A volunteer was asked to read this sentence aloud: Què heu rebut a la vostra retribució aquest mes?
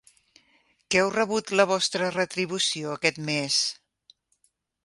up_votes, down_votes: 0, 2